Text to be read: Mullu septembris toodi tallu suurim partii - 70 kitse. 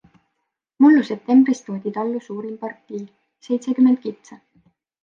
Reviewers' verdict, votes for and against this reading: rejected, 0, 2